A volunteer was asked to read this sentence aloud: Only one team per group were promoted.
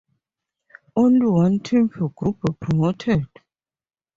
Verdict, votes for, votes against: accepted, 4, 2